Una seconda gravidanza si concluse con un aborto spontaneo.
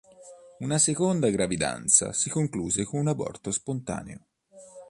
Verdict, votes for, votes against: accepted, 2, 0